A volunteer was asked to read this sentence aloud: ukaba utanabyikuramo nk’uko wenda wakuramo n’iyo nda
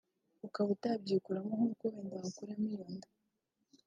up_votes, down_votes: 0, 2